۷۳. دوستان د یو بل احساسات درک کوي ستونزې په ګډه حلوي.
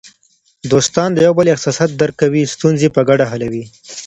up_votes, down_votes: 0, 2